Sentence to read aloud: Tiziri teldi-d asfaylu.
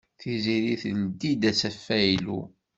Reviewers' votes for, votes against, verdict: 1, 2, rejected